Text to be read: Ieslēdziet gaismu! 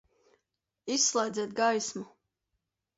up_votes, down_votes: 0, 2